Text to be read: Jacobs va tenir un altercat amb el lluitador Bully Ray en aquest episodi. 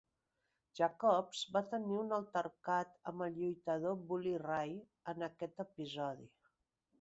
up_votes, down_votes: 2, 0